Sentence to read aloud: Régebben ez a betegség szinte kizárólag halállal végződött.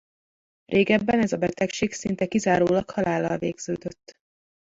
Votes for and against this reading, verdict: 1, 2, rejected